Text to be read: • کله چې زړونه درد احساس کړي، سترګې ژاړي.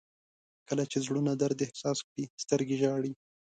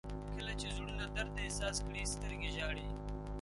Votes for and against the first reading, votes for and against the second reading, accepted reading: 2, 0, 1, 2, first